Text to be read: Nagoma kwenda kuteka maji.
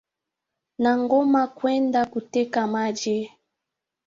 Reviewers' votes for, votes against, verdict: 1, 2, rejected